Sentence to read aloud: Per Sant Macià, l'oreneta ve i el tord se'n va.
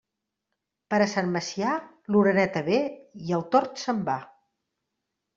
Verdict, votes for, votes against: rejected, 0, 2